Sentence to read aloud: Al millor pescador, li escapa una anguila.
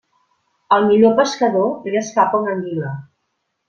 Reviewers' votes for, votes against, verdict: 2, 1, accepted